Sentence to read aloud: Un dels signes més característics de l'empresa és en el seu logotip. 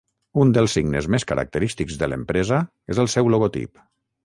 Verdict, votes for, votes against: rejected, 3, 6